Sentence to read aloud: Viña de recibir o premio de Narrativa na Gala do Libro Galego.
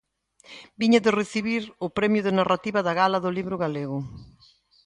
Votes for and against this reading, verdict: 1, 2, rejected